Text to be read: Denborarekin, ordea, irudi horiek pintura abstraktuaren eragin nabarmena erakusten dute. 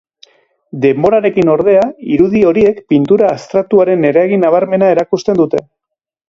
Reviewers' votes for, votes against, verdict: 3, 1, accepted